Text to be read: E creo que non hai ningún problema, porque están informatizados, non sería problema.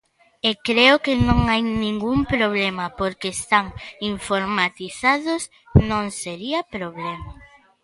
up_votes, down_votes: 2, 0